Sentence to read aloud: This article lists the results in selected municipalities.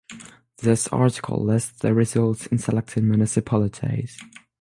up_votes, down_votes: 3, 6